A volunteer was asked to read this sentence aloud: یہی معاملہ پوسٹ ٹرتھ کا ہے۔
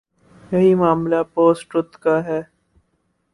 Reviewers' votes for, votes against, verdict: 4, 0, accepted